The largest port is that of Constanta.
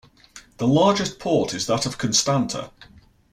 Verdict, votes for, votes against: rejected, 2, 2